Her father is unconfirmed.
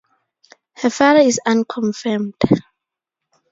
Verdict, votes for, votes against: accepted, 4, 0